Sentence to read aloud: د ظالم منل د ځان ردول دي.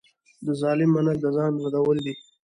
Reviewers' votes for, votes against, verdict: 2, 1, accepted